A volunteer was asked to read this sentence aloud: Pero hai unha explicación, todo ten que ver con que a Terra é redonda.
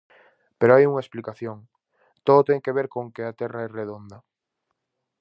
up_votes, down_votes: 4, 0